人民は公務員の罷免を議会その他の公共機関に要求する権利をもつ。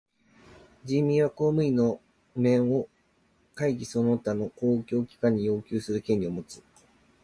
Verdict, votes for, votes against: rejected, 1, 2